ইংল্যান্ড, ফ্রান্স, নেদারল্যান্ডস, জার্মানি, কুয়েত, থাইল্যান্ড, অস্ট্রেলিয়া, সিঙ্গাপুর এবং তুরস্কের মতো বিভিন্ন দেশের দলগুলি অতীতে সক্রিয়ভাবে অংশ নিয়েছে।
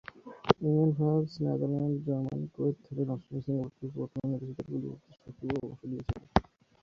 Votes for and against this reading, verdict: 0, 2, rejected